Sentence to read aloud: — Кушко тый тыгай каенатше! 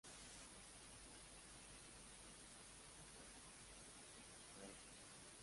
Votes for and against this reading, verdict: 0, 2, rejected